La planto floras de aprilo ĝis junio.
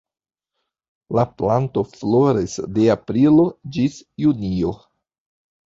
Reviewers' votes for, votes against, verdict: 1, 2, rejected